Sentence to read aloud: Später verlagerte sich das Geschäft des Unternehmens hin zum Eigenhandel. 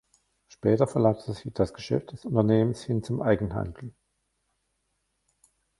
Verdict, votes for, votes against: rejected, 1, 2